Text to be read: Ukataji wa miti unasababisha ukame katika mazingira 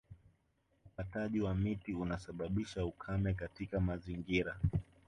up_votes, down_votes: 2, 0